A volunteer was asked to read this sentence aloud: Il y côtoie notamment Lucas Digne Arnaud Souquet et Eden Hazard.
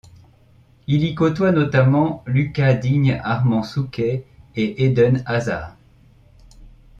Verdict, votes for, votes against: accepted, 2, 0